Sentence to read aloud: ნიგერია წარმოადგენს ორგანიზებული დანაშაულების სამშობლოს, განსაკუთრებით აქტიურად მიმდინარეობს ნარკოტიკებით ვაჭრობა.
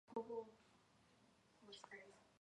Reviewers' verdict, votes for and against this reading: accepted, 2, 0